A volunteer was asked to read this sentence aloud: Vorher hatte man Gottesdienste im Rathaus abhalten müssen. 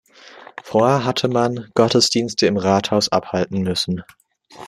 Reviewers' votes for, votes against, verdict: 2, 0, accepted